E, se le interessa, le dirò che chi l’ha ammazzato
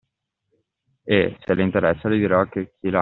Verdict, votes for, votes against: rejected, 0, 2